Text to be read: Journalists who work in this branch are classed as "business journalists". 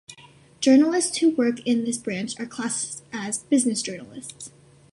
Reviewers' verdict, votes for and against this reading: accepted, 2, 0